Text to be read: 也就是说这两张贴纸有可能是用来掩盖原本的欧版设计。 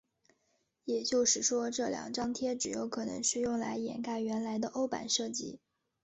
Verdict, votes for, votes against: rejected, 0, 2